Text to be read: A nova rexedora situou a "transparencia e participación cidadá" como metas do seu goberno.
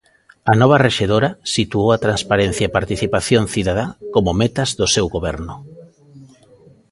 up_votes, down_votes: 2, 0